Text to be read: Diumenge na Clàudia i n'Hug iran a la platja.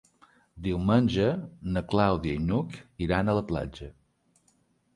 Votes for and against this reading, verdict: 3, 0, accepted